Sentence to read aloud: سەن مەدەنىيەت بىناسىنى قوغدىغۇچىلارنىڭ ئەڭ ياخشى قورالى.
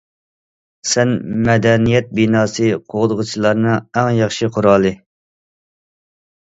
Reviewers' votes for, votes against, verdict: 1, 2, rejected